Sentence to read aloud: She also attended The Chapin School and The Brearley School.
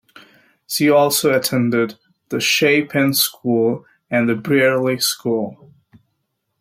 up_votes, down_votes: 2, 0